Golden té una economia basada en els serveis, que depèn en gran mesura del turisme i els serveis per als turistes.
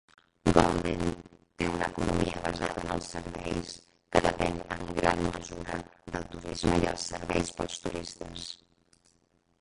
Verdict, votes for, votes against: rejected, 0, 2